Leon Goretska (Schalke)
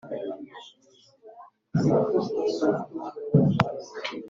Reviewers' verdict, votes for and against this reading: rejected, 0, 2